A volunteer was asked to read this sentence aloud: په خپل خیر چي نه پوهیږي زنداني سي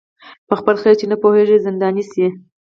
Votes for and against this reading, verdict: 4, 0, accepted